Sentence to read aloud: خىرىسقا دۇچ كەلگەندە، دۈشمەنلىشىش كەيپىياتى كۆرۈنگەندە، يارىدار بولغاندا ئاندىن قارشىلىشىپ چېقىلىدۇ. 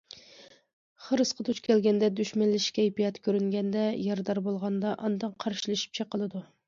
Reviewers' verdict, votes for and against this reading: accepted, 2, 0